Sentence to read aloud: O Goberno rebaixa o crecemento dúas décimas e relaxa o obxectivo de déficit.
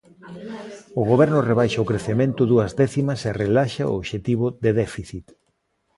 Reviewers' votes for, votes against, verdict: 2, 0, accepted